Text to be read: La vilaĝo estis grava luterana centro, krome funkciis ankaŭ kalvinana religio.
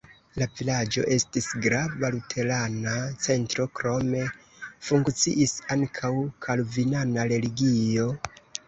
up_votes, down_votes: 1, 2